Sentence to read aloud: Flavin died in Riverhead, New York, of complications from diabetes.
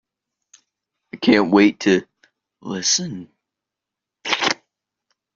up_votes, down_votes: 0, 2